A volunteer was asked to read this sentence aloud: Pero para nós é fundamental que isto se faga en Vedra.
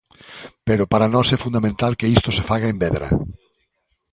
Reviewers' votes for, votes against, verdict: 2, 0, accepted